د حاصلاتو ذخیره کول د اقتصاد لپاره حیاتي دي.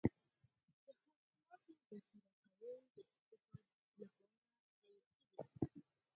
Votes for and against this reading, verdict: 2, 4, rejected